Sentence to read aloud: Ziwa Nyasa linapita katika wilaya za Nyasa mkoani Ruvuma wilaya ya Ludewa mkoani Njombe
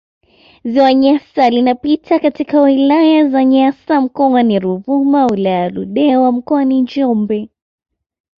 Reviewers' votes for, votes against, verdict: 2, 0, accepted